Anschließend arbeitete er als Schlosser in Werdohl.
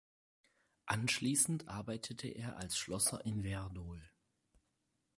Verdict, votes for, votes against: accepted, 4, 0